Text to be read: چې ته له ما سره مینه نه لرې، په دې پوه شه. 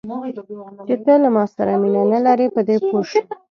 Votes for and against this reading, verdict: 1, 2, rejected